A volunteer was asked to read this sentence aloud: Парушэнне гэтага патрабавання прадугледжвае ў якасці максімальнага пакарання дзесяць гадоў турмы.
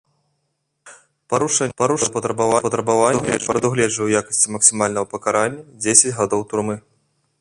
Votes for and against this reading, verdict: 0, 2, rejected